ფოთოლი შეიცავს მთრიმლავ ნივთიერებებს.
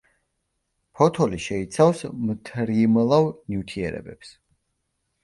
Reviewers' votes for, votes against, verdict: 2, 1, accepted